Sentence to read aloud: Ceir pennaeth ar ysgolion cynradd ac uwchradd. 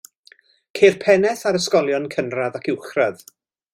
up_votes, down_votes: 2, 0